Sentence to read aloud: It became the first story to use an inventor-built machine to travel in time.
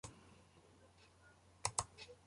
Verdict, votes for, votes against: rejected, 0, 2